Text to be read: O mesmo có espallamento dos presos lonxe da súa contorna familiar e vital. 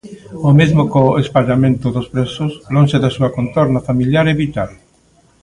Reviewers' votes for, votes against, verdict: 1, 2, rejected